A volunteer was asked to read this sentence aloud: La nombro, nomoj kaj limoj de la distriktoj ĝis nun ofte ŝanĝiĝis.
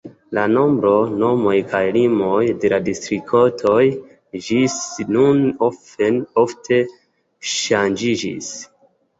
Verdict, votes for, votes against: accepted, 2, 1